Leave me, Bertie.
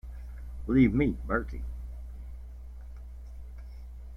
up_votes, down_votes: 1, 2